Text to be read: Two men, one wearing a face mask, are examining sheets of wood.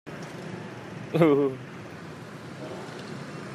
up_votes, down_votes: 0, 2